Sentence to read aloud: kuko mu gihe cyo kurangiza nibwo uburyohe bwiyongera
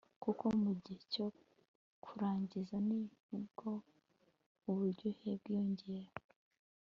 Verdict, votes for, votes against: accepted, 3, 0